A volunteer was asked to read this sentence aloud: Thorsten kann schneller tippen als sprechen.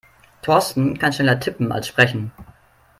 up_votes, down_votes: 3, 0